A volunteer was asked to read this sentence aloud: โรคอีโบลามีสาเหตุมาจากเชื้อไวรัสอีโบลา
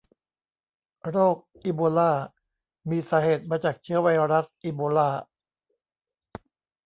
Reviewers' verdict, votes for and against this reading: accepted, 2, 0